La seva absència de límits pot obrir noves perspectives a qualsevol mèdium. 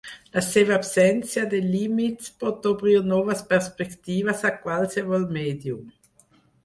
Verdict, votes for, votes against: accepted, 6, 0